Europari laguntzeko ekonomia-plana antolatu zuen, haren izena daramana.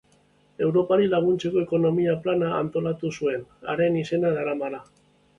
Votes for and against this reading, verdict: 2, 0, accepted